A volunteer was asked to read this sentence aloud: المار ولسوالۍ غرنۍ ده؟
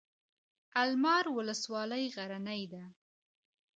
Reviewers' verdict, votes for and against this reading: accepted, 2, 0